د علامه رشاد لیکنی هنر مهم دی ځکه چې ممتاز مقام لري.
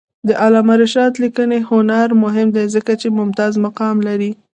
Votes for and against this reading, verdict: 1, 2, rejected